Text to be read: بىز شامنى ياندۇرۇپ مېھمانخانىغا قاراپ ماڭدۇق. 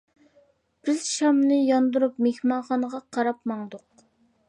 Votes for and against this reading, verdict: 2, 0, accepted